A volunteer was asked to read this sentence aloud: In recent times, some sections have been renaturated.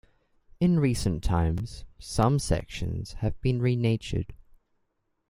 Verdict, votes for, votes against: rejected, 1, 2